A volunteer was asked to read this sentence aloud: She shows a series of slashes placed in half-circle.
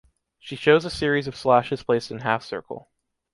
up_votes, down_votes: 2, 0